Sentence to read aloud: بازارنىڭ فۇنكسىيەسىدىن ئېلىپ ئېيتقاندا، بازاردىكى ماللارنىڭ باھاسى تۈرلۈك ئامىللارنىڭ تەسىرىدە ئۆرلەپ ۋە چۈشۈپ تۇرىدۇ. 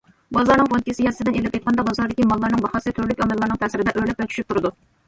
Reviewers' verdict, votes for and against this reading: accepted, 2, 0